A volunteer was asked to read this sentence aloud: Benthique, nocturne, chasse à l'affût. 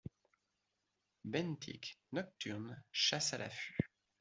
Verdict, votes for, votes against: accepted, 2, 0